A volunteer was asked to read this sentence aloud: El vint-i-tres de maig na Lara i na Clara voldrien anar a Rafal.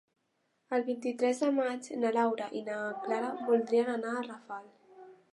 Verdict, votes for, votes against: rejected, 1, 3